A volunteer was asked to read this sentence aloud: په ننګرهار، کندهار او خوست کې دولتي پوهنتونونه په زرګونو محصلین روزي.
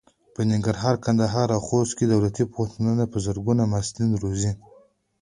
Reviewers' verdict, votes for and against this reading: accepted, 2, 1